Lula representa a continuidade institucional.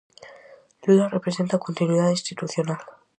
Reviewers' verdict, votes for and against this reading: accepted, 4, 0